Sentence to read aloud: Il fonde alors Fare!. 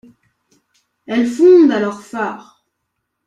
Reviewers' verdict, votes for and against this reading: rejected, 1, 2